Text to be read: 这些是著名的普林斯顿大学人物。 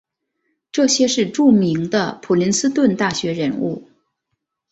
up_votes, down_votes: 2, 0